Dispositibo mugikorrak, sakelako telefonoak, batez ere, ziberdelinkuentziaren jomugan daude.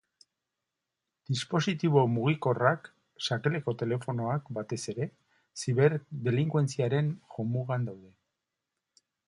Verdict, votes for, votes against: accepted, 2, 1